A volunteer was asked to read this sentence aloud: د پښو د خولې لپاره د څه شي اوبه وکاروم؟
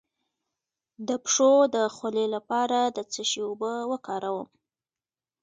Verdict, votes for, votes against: rejected, 1, 2